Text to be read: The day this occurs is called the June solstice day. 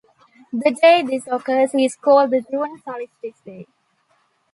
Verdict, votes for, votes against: rejected, 1, 2